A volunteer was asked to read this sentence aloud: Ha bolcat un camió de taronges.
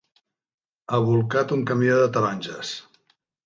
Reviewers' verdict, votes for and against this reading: accepted, 2, 0